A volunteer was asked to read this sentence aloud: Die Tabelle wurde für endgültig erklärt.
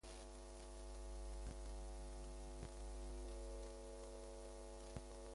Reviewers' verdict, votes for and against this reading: rejected, 0, 2